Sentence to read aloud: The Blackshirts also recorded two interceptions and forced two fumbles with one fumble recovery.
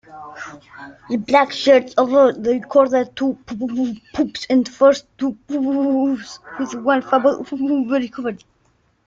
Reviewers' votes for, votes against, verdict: 0, 2, rejected